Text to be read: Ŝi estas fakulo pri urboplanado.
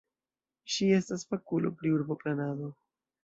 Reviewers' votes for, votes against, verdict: 2, 0, accepted